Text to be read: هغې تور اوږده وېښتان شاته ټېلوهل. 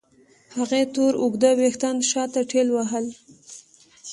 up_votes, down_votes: 2, 0